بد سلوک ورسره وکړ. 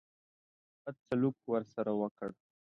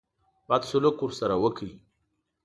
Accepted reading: first